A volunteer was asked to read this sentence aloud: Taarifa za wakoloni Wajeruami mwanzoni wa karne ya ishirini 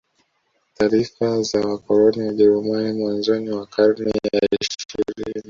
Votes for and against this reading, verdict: 2, 0, accepted